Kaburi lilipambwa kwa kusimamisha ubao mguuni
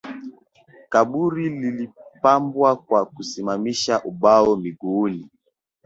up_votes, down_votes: 4, 0